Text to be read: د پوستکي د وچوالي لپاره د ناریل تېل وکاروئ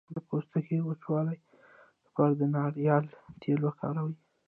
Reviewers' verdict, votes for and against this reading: rejected, 0, 2